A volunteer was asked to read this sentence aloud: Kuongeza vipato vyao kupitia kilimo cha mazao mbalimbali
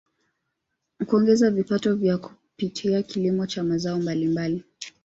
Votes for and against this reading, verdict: 1, 2, rejected